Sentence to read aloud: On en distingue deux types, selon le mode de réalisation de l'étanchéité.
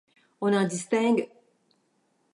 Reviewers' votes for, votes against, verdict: 0, 2, rejected